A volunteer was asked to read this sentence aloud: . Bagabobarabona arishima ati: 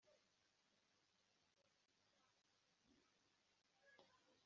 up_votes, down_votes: 0, 2